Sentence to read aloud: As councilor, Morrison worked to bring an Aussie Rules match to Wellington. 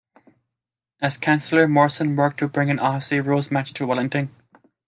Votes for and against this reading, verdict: 2, 1, accepted